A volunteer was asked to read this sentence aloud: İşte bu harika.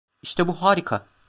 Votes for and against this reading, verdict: 2, 0, accepted